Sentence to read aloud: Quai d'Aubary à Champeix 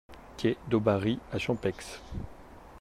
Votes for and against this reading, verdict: 2, 0, accepted